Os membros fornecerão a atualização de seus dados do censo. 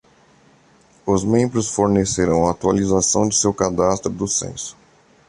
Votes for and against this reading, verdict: 1, 2, rejected